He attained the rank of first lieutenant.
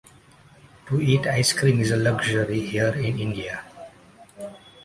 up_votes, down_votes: 0, 2